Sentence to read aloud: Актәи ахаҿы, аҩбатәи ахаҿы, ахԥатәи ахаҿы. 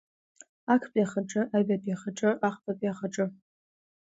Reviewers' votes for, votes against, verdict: 2, 0, accepted